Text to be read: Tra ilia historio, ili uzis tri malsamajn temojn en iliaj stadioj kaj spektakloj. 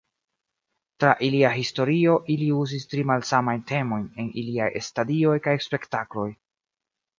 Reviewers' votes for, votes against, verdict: 2, 0, accepted